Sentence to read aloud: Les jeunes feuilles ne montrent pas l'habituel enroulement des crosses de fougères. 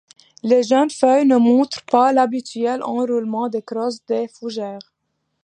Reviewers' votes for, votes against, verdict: 2, 0, accepted